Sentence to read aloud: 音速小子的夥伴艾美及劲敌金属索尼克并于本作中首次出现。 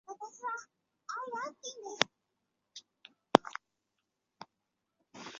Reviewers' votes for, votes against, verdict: 1, 4, rejected